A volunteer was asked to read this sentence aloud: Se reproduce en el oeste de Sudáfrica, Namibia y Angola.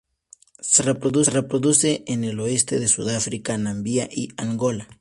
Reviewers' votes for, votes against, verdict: 0, 2, rejected